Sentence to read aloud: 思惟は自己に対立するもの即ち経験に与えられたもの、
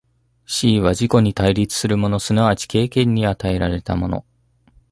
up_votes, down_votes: 2, 0